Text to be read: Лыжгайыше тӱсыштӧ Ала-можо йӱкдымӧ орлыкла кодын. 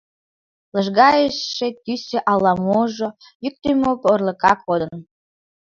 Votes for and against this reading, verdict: 0, 2, rejected